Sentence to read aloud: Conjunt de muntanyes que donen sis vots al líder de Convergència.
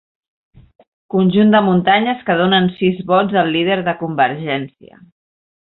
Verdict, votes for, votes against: accepted, 3, 0